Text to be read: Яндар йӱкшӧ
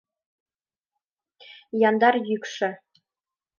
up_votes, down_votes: 2, 0